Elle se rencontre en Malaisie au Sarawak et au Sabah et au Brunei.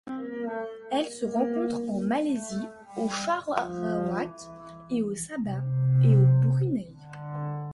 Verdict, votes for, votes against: rejected, 0, 2